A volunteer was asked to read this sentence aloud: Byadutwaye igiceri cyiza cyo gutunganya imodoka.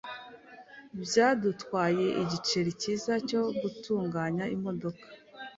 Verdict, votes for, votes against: accepted, 2, 0